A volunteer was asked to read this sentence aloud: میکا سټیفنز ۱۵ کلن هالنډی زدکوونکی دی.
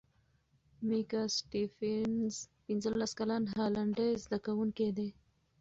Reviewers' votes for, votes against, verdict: 0, 2, rejected